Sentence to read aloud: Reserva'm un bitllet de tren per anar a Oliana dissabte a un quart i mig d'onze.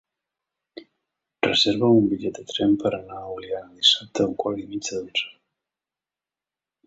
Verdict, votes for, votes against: rejected, 0, 2